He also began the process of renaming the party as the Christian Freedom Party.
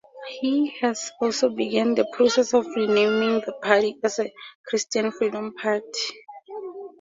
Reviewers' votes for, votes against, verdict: 0, 2, rejected